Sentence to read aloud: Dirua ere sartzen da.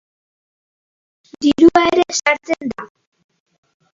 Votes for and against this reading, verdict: 0, 3, rejected